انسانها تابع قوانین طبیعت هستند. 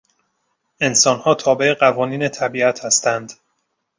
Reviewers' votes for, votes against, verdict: 2, 0, accepted